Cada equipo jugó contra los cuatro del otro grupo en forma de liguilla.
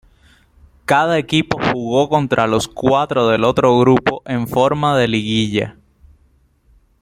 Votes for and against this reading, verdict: 1, 2, rejected